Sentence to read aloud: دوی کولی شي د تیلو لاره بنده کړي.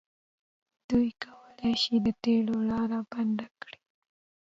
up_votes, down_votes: 0, 2